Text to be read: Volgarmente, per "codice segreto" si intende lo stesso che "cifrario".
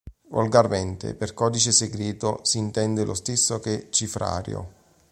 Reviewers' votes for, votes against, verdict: 2, 1, accepted